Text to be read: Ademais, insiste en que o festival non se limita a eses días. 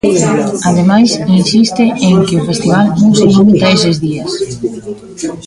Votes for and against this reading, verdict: 0, 2, rejected